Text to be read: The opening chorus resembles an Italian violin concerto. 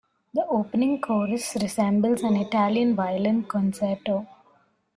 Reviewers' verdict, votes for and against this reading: accepted, 2, 0